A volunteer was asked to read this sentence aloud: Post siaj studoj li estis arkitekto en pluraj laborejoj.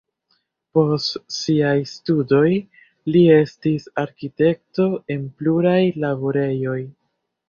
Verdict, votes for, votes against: rejected, 0, 2